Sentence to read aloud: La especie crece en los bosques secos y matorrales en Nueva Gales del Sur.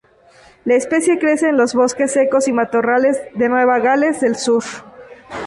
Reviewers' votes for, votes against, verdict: 0, 2, rejected